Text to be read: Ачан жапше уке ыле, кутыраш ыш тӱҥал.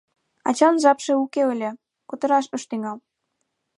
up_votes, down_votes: 2, 0